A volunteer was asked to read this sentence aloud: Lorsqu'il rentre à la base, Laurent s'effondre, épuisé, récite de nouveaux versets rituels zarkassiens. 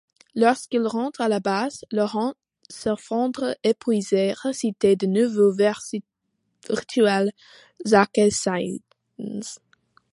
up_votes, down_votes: 1, 2